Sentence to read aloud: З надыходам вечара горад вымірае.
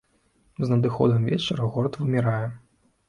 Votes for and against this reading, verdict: 2, 0, accepted